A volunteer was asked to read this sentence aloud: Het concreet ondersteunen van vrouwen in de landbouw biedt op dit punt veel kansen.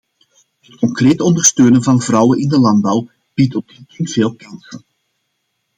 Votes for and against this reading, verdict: 0, 2, rejected